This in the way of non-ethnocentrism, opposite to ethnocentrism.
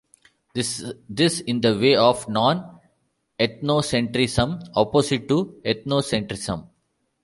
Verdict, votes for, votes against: rejected, 1, 2